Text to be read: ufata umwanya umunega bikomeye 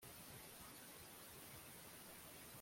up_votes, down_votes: 0, 2